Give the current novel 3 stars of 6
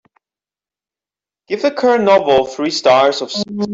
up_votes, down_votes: 0, 2